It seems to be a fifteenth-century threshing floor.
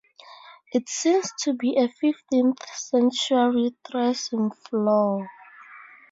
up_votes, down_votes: 0, 2